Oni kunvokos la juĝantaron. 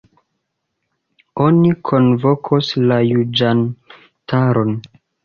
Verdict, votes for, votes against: rejected, 0, 2